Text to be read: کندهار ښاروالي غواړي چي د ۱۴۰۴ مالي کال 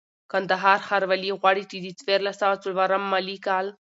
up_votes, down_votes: 0, 2